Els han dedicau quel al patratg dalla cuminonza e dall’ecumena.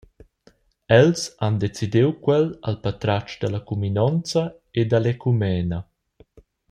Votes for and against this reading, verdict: 1, 2, rejected